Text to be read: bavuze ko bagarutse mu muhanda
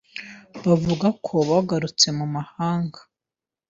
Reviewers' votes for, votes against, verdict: 2, 0, accepted